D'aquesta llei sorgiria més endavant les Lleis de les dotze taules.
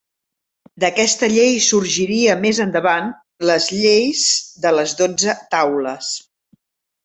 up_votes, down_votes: 3, 0